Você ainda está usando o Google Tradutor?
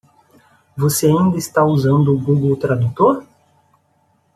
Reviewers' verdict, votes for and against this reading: accepted, 2, 0